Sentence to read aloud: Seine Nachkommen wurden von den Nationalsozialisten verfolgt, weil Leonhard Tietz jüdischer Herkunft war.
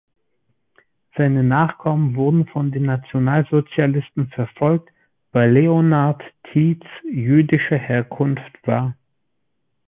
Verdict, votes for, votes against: accepted, 2, 0